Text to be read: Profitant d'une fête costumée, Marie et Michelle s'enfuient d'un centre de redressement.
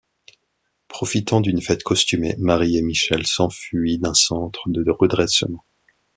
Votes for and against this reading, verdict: 2, 0, accepted